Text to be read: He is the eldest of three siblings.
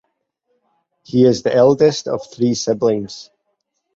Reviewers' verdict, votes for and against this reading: accepted, 4, 0